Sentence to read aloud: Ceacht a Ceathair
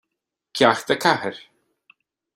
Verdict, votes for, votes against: accepted, 2, 1